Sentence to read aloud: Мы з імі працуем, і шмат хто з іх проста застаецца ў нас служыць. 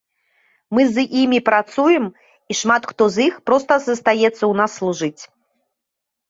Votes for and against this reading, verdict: 2, 0, accepted